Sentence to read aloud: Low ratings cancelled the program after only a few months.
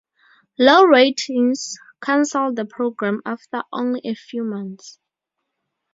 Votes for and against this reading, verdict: 0, 2, rejected